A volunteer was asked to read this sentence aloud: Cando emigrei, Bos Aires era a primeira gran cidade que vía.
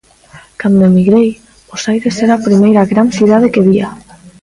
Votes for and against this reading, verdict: 1, 2, rejected